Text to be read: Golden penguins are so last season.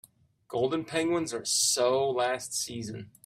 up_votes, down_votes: 2, 0